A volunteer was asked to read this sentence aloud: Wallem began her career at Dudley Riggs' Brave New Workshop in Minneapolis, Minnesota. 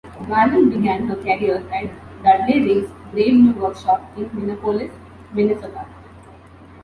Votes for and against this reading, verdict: 2, 1, accepted